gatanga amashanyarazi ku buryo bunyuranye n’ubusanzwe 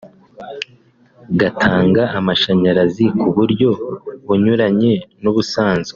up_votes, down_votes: 3, 0